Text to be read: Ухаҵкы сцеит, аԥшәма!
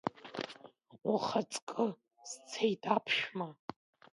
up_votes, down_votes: 2, 1